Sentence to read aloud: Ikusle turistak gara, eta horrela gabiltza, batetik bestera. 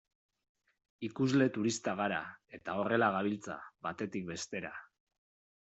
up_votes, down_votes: 2, 0